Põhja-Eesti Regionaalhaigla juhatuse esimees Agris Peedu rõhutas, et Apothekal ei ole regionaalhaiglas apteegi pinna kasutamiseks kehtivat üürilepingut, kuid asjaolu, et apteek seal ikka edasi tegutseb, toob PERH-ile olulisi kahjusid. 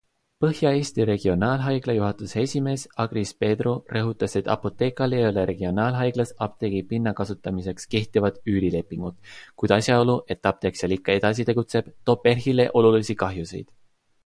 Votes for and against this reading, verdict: 2, 0, accepted